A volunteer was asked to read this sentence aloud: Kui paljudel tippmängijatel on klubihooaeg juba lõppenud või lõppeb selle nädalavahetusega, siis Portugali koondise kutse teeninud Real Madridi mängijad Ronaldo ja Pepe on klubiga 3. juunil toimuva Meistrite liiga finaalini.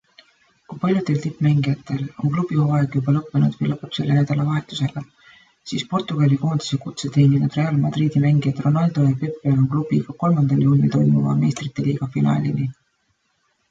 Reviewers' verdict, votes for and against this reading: rejected, 0, 2